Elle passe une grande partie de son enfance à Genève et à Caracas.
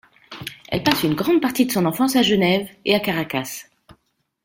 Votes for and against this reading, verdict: 2, 0, accepted